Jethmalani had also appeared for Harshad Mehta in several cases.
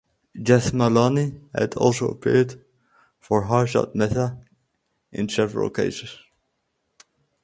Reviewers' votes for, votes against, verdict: 0, 2, rejected